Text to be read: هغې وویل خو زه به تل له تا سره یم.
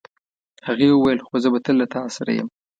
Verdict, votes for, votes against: accepted, 2, 0